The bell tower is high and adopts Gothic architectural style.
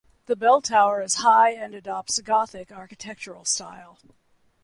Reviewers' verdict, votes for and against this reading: accepted, 2, 0